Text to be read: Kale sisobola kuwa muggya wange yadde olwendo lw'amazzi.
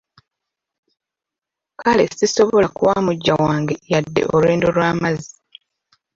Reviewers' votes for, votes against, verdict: 2, 0, accepted